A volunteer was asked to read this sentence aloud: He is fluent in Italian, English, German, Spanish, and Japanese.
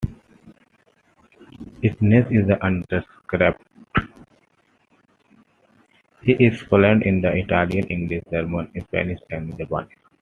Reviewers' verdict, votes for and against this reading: accepted, 2, 1